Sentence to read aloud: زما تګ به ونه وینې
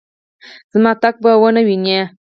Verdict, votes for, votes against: rejected, 2, 6